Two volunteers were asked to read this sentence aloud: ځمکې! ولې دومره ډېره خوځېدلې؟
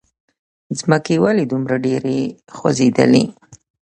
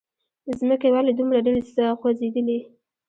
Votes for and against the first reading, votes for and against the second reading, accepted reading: 2, 0, 1, 2, first